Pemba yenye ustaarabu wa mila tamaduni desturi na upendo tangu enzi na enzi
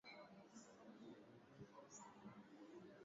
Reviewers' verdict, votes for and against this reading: rejected, 0, 7